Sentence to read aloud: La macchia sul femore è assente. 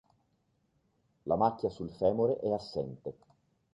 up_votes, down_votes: 2, 0